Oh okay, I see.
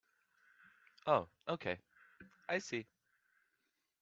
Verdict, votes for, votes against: accepted, 2, 0